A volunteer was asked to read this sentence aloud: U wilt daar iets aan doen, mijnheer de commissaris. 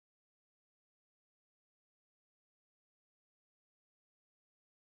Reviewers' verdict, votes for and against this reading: rejected, 0, 2